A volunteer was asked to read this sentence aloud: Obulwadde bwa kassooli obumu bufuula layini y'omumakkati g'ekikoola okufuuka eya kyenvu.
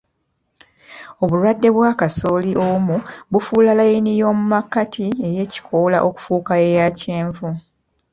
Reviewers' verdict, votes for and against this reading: rejected, 1, 2